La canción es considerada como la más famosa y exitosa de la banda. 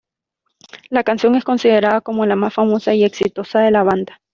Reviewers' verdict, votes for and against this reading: accepted, 2, 0